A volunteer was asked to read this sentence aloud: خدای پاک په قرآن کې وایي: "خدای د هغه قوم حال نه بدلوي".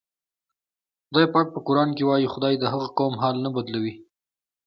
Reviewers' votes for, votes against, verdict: 2, 1, accepted